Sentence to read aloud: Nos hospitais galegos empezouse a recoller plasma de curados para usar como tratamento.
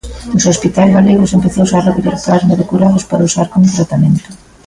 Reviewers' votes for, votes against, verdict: 1, 2, rejected